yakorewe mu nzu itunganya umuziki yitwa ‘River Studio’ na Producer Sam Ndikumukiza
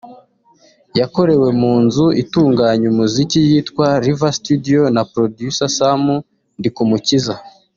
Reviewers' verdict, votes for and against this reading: accepted, 2, 0